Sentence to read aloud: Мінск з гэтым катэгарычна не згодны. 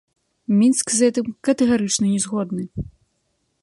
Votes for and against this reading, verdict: 2, 0, accepted